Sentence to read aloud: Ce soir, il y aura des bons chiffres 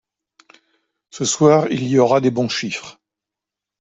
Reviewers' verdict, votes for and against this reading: accepted, 2, 0